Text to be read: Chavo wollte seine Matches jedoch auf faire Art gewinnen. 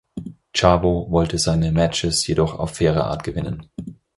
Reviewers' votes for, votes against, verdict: 4, 0, accepted